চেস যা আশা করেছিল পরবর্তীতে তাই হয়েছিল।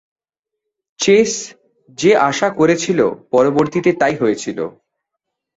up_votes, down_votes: 2, 4